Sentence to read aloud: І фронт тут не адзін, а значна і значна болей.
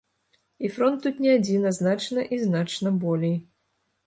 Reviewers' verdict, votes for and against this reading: accepted, 2, 0